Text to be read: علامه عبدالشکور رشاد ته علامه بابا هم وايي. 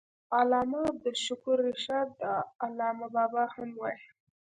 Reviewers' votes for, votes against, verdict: 2, 0, accepted